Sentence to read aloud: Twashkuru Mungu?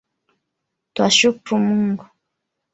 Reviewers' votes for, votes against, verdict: 3, 1, accepted